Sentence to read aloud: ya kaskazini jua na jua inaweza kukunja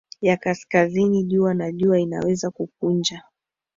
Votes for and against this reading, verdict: 2, 0, accepted